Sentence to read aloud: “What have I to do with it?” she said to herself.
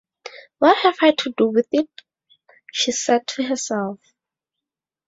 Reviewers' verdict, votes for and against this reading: accepted, 2, 0